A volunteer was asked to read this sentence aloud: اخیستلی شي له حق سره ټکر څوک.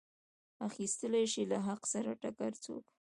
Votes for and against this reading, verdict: 2, 0, accepted